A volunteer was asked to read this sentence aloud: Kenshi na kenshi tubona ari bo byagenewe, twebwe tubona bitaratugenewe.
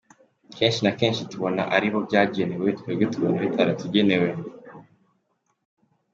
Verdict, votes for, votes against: accepted, 2, 1